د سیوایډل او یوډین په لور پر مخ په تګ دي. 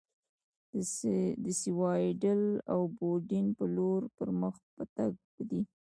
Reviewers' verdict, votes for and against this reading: rejected, 1, 2